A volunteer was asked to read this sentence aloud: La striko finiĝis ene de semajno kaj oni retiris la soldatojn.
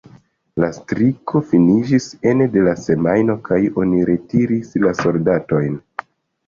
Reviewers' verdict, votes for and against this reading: rejected, 1, 2